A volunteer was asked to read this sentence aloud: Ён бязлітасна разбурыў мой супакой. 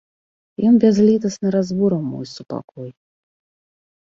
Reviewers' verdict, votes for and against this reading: accepted, 2, 1